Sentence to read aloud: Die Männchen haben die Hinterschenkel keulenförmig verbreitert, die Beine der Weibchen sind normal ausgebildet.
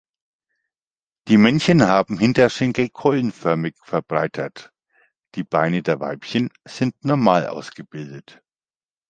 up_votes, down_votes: 1, 2